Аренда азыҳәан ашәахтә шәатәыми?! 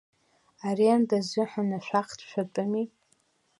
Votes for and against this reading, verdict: 2, 0, accepted